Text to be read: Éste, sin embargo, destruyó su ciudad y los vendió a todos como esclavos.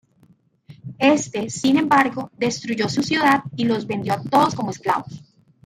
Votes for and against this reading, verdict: 0, 2, rejected